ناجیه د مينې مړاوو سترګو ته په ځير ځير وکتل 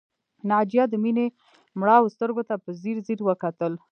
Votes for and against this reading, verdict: 0, 2, rejected